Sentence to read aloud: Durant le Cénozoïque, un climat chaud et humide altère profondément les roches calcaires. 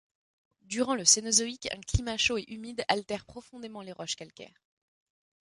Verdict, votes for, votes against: accepted, 3, 0